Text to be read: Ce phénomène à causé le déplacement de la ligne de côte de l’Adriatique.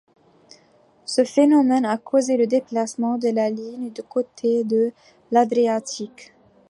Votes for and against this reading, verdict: 0, 2, rejected